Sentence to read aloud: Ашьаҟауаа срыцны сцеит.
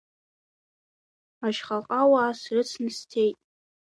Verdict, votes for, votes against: accepted, 2, 0